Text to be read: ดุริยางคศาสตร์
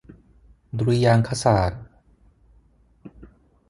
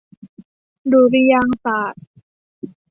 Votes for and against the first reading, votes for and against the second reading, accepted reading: 6, 0, 0, 2, first